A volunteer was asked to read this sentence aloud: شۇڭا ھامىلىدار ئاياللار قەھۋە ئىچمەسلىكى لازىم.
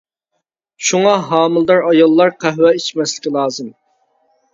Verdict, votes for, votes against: accepted, 2, 0